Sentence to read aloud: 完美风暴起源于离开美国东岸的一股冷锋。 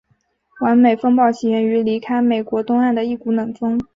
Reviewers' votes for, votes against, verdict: 2, 0, accepted